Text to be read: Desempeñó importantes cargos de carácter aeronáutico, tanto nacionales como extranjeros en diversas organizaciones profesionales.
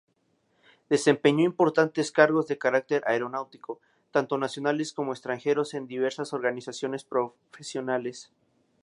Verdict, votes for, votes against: rejected, 2, 2